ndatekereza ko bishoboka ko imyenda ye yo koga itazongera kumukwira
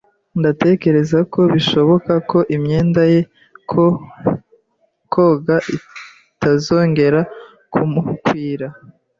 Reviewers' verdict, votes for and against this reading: rejected, 1, 2